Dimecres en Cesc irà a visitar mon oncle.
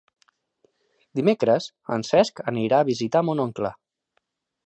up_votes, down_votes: 1, 2